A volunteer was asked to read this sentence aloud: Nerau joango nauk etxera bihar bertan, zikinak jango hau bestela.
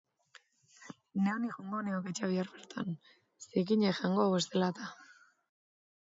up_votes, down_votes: 0, 2